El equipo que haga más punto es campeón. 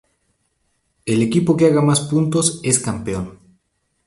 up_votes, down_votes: 0, 2